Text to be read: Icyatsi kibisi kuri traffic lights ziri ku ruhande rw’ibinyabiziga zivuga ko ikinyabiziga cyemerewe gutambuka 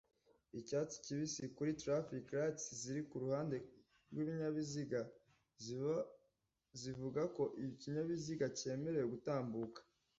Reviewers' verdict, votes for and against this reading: rejected, 0, 2